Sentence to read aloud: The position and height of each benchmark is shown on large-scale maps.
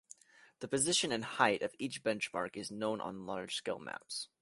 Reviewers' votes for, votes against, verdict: 1, 2, rejected